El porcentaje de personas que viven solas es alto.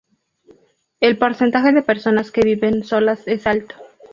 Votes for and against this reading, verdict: 2, 0, accepted